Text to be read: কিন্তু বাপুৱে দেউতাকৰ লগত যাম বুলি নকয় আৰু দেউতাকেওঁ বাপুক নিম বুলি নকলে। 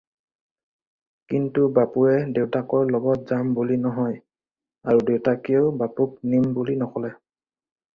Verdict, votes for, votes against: rejected, 2, 4